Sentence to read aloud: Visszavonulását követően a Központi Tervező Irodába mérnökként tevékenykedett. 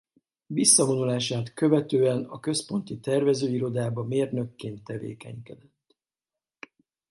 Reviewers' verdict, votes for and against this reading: accepted, 2, 0